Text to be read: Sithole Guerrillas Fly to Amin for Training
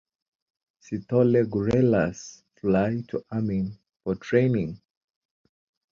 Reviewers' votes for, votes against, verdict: 3, 4, rejected